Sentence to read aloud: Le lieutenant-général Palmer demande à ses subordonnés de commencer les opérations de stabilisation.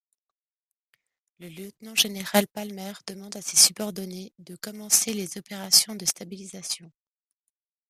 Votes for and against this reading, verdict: 2, 0, accepted